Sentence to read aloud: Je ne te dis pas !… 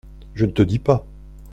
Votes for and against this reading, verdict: 2, 0, accepted